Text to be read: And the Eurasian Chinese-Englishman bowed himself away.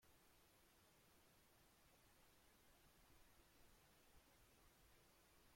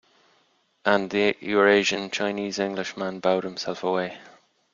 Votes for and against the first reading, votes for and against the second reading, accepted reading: 0, 2, 2, 0, second